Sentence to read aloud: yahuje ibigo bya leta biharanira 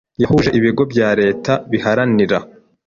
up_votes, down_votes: 2, 0